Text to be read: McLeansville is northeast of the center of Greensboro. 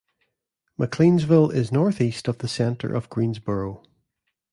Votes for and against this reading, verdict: 2, 1, accepted